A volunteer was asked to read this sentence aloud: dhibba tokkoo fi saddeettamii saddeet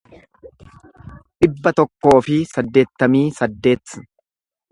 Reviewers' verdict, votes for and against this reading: accepted, 2, 0